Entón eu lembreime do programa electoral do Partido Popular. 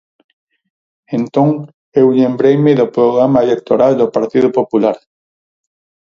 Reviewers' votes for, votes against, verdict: 0, 4, rejected